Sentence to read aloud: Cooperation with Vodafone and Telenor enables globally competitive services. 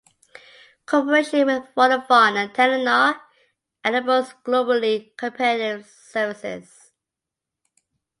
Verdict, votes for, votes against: rejected, 0, 2